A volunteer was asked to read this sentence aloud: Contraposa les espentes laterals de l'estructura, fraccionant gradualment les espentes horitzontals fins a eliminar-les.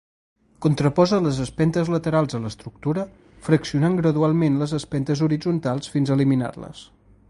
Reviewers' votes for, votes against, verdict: 2, 0, accepted